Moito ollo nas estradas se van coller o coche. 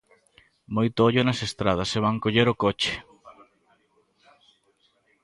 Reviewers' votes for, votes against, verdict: 2, 0, accepted